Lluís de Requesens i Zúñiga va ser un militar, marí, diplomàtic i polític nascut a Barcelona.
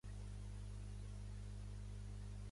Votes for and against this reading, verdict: 0, 3, rejected